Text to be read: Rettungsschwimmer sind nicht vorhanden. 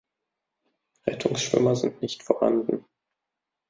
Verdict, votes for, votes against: accepted, 2, 0